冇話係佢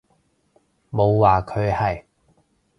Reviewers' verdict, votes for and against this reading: rejected, 0, 2